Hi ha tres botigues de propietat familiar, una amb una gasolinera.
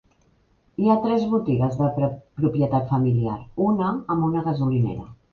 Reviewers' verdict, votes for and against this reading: rejected, 1, 2